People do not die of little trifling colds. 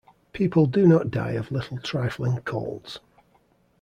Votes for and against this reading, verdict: 2, 0, accepted